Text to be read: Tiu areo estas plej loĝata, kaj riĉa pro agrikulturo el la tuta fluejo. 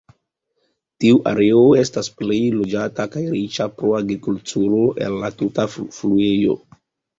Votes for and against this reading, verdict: 2, 0, accepted